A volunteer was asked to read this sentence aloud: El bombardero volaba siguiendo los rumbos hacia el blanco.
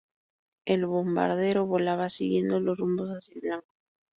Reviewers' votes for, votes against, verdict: 2, 0, accepted